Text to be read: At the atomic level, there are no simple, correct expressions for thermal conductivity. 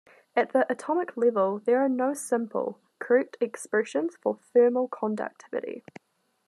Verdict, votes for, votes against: accepted, 2, 0